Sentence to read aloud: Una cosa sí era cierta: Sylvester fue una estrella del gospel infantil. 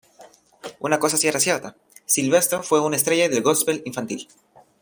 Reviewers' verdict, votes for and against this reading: accepted, 2, 0